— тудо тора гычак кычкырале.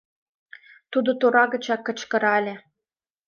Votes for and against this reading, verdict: 2, 0, accepted